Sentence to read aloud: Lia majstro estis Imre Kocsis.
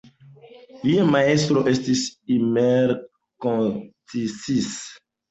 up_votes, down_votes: 0, 2